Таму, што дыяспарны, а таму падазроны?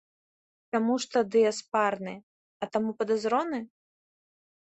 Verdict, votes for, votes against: rejected, 1, 2